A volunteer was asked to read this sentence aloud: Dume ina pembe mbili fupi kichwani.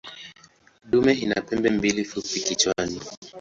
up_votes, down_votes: 0, 3